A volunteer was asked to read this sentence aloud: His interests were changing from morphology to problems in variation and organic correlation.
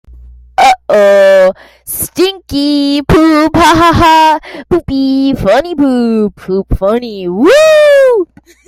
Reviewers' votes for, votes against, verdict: 0, 2, rejected